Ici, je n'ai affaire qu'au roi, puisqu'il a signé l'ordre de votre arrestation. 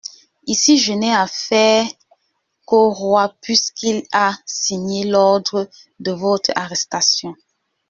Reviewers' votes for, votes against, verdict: 1, 2, rejected